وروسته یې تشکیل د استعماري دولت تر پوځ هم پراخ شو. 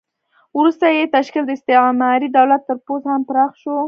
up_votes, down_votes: 1, 2